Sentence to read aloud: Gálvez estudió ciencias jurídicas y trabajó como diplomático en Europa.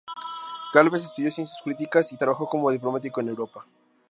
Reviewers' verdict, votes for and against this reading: rejected, 0, 2